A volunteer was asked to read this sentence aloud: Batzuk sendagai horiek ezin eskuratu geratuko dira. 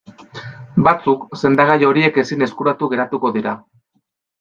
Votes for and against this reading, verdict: 2, 0, accepted